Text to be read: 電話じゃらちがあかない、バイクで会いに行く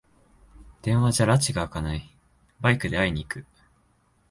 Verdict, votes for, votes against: accepted, 3, 0